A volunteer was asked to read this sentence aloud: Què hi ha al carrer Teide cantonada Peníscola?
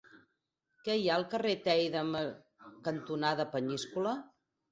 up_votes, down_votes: 2, 4